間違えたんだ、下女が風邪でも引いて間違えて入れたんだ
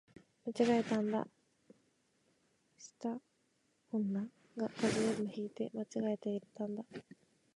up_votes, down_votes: 0, 2